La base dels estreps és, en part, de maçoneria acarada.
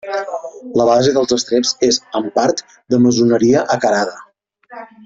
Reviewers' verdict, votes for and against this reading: rejected, 1, 2